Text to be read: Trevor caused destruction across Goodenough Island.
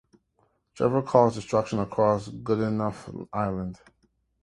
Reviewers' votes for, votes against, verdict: 2, 0, accepted